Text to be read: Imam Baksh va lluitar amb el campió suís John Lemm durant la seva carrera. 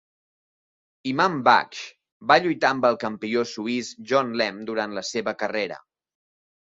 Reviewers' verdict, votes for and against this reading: accepted, 2, 0